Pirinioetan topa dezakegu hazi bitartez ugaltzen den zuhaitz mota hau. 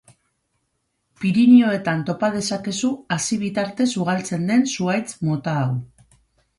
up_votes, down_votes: 0, 2